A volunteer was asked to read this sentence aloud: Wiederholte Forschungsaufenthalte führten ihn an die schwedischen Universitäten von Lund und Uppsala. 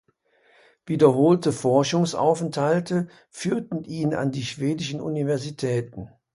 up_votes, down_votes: 1, 2